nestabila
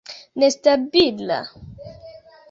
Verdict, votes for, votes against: accepted, 2, 0